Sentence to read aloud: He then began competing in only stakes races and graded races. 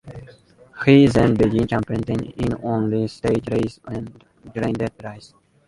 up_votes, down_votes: 0, 2